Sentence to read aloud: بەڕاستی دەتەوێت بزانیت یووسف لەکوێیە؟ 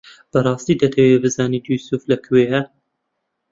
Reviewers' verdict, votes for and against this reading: accepted, 2, 0